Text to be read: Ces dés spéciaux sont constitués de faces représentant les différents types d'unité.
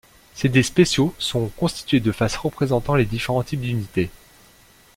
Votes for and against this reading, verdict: 0, 2, rejected